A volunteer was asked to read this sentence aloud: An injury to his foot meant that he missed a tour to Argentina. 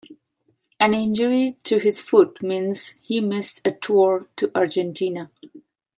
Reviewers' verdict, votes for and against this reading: rejected, 0, 3